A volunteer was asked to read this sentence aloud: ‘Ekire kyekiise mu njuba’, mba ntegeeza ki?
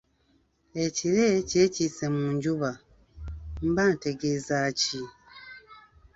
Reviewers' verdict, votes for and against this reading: accepted, 2, 0